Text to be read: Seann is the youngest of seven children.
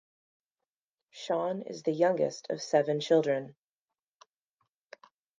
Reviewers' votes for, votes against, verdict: 2, 0, accepted